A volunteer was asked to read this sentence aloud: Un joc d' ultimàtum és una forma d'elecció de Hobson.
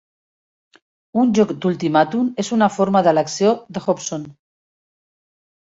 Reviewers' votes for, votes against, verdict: 2, 0, accepted